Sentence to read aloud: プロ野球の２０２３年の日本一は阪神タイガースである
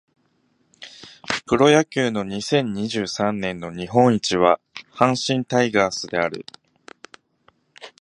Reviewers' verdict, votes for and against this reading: rejected, 0, 2